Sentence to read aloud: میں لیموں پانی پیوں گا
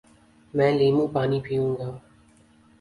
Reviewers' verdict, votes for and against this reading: accepted, 2, 0